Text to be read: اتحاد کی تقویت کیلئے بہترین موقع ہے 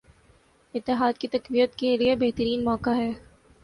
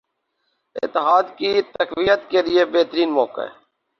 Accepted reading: first